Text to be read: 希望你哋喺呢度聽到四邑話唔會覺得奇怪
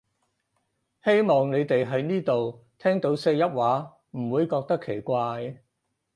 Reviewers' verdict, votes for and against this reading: accepted, 4, 0